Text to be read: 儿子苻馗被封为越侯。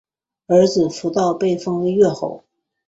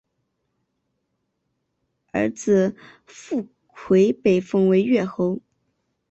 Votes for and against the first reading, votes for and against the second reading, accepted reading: 2, 2, 2, 0, second